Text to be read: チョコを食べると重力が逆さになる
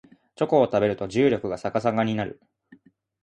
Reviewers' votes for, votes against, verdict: 1, 2, rejected